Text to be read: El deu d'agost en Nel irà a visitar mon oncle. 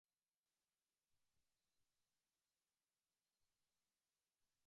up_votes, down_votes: 0, 2